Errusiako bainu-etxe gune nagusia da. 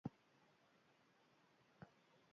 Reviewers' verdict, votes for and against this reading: rejected, 0, 2